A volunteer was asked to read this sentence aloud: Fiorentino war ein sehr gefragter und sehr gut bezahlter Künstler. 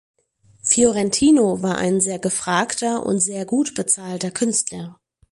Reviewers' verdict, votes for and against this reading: accepted, 4, 0